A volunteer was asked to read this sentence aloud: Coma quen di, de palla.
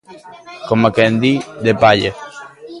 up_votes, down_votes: 2, 0